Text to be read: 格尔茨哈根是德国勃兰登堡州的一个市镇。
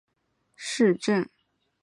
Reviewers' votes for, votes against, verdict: 0, 2, rejected